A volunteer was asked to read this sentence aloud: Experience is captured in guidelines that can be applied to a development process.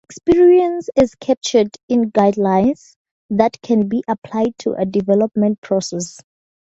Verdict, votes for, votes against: accepted, 2, 0